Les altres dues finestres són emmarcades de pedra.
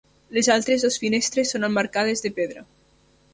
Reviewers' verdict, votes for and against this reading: rejected, 0, 2